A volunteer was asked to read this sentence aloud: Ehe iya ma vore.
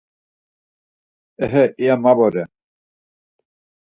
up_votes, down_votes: 4, 0